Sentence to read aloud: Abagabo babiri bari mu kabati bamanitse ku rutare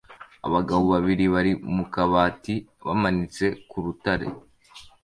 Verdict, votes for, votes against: accepted, 2, 0